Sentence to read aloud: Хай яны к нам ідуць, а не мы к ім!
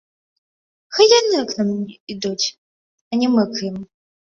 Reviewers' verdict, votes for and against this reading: accepted, 2, 0